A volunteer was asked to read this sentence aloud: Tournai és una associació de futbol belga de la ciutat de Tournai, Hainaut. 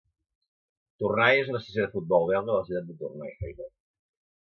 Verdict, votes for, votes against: rejected, 0, 2